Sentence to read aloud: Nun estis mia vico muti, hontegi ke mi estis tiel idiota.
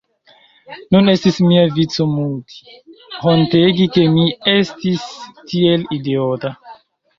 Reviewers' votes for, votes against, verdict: 2, 0, accepted